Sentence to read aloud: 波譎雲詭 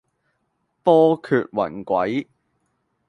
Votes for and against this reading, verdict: 1, 2, rejected